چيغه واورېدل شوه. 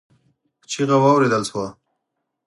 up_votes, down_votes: 4, 0